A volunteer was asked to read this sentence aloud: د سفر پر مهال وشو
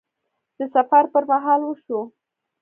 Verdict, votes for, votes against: accepted, 2, 0